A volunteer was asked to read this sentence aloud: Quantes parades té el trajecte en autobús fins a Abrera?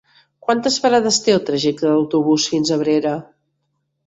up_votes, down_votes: 2, 0